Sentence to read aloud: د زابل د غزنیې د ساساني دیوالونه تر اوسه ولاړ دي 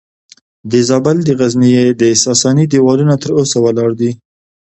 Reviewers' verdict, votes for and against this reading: accepted, 2, 0